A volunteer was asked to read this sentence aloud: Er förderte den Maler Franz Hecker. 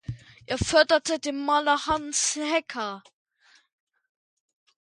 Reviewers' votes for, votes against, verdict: 0, 2, rejected